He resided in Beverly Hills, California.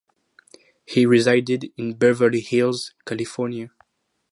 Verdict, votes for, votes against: accepted, 4, 0